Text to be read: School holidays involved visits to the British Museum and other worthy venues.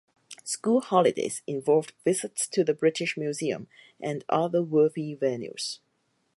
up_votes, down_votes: 4, 0